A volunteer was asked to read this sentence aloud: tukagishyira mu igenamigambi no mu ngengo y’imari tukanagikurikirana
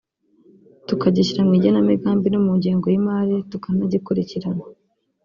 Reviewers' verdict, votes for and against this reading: rejected, 0, 2